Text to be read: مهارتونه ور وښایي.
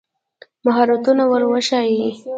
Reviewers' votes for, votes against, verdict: 1, 2, rejected